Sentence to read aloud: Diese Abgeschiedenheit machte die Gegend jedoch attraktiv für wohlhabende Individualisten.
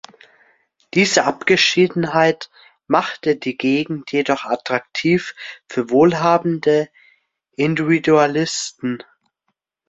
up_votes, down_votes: 0, 2